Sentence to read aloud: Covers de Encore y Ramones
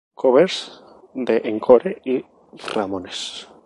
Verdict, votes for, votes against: accepted, 2, 0